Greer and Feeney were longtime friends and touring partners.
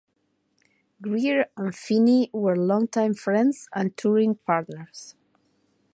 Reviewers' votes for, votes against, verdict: 2, 0, accepted